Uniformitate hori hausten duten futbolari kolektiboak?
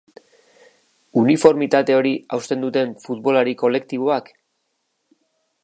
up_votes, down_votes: 2, 0